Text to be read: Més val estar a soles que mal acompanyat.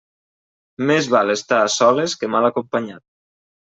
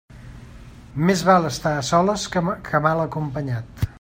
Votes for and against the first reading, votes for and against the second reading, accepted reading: 3, 0, 1, 2, first